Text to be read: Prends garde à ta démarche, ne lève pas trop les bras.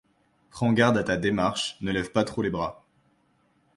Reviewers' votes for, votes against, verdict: 2, 0, accepted